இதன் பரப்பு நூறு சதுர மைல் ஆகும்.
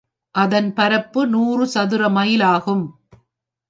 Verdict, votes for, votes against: rejected, 2, 3